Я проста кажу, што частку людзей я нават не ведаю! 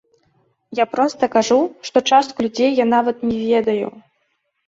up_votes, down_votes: 2, 0